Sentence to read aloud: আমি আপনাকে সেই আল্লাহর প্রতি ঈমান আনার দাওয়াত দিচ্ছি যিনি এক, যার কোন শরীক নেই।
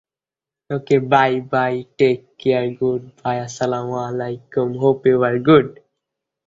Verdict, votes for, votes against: rejected, 0, 9